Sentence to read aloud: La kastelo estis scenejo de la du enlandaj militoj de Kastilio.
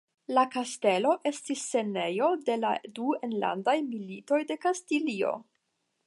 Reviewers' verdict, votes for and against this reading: accepted, 10, 0